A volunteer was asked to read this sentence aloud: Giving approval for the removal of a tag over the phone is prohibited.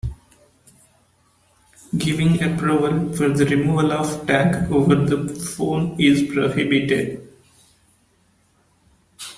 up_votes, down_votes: 0, 2